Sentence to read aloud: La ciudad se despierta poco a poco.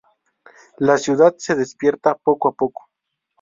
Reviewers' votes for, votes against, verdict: 2, 0, accepted